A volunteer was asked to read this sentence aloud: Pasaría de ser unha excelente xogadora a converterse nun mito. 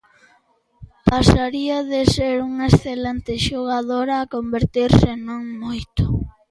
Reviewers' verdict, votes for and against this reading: rejected, 1, 2